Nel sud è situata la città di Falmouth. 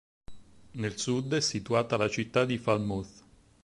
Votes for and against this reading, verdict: 6, 0, accepted